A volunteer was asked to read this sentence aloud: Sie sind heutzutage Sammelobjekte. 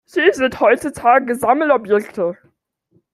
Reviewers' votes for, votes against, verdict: 2, 1, accepted